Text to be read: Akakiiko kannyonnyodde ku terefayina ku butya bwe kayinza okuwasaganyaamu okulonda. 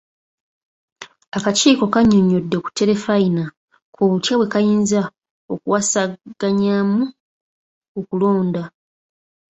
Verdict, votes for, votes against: rejected, 1, 2